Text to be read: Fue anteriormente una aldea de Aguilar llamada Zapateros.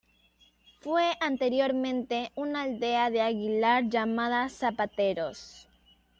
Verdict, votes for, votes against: accepted, 2, 0